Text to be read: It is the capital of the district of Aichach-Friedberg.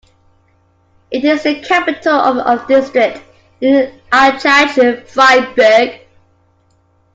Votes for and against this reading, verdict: 2, 1, accepted